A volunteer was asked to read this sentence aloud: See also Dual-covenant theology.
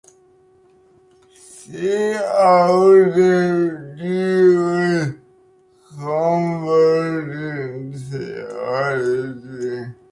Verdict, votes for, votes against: rejected, 0, 2